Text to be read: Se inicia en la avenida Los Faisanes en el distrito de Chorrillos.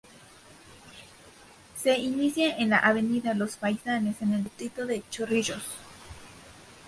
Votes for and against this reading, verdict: 2, 2, rejected